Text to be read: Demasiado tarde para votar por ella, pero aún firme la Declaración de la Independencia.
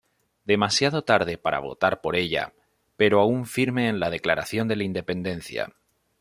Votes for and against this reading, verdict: 1, 2, rejected